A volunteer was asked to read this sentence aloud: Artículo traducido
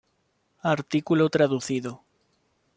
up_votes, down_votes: 2, 0